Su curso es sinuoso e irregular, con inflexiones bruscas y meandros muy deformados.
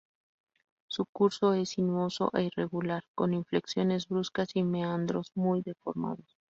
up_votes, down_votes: 0, 2